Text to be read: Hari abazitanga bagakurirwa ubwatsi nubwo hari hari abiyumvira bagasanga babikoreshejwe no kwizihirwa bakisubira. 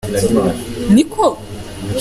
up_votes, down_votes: 0, 2